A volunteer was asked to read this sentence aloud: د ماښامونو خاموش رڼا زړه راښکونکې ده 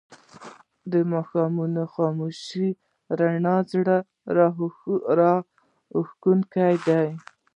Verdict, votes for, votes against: rejected, 0, 2